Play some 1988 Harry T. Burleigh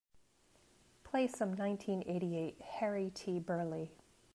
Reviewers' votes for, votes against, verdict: 0, 2, rejected